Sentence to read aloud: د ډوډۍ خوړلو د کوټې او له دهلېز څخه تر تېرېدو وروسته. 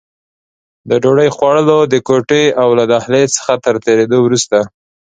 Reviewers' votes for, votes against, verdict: 2, 0, accepted